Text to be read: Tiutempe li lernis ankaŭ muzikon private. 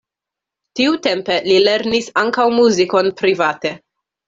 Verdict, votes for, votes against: accepted, 2, 0